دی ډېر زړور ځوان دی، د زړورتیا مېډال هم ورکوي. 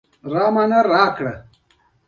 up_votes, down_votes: 2, 1